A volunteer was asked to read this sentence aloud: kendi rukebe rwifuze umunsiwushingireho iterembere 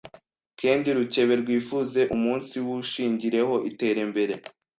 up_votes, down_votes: 1, 2